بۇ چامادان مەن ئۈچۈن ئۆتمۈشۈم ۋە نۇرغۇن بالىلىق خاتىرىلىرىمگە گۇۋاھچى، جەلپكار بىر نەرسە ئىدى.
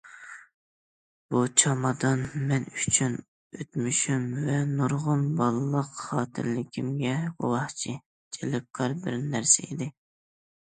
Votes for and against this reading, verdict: 2, 1, accepted